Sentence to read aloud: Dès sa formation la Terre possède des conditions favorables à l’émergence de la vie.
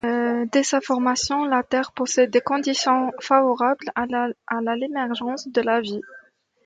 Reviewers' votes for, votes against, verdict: 1, 2, rejected